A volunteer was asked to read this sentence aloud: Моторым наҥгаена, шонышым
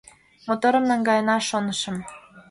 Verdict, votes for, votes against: accepted, 2, 0